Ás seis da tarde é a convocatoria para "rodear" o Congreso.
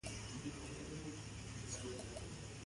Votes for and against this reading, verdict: 0, 2, rejected